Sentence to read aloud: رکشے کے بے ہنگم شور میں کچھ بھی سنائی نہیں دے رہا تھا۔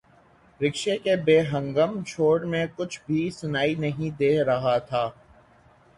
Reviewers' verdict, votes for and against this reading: accepted, 6, 0